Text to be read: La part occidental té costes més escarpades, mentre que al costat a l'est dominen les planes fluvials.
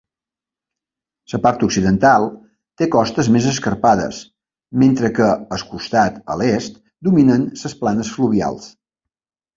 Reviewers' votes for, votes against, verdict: 0, 2, rejected